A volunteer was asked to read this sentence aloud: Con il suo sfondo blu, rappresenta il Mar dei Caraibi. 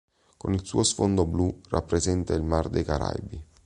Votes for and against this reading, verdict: 2, 0, accepted